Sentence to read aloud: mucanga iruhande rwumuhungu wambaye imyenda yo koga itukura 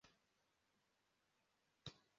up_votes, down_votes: 0, 2